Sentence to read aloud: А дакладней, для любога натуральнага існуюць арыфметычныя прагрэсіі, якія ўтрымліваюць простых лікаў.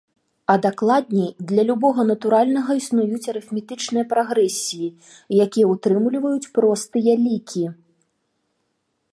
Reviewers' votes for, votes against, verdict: 0, 2, rejected